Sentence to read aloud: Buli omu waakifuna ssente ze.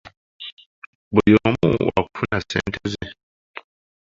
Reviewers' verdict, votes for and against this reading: rejected, 0, 2